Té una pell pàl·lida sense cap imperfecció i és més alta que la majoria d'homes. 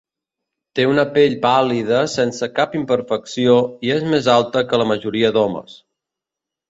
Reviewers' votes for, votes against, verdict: 2, 0, accepted